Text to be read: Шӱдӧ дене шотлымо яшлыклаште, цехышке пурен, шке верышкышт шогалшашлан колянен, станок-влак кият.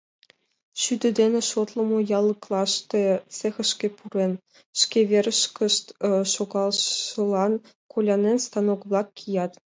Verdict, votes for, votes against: rejected, 1, 2